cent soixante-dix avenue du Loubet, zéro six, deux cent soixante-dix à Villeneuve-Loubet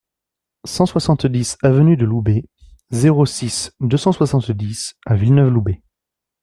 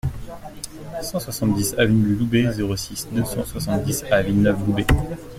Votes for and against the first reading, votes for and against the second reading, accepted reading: 2, 0, 1, 2, first